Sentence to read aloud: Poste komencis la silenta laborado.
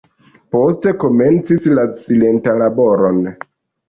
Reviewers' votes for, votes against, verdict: 1, 2, rejected